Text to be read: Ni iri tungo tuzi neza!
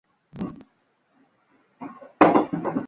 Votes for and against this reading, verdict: 0, 2, rejected